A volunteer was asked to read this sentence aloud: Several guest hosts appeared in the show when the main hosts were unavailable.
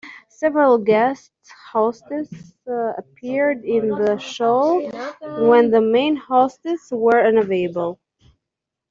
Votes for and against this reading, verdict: 0, 3, rejected